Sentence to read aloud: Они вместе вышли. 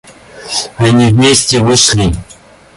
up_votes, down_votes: 0, 2